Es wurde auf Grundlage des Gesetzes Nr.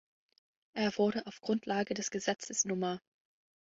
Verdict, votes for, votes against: rejected, 1, 2